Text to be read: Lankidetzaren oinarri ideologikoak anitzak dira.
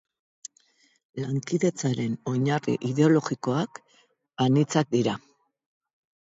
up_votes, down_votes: 8, 0